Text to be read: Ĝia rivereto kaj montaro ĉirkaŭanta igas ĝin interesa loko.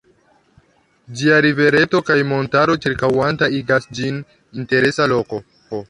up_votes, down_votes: 1, 2